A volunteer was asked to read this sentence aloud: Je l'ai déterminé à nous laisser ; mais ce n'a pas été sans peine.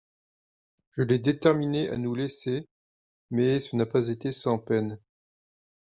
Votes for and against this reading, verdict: 2, 0, accepted